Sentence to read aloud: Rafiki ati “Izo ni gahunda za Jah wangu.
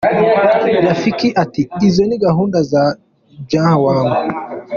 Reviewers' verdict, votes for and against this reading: rejected, 0, 2